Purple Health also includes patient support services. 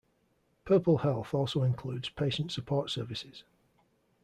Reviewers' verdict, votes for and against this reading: accepted, 2, 0